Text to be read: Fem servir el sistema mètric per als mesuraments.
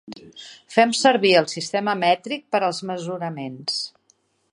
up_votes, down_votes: 2, 0